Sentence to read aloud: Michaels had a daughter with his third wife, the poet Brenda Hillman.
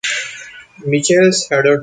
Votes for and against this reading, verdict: 0, 2, rejected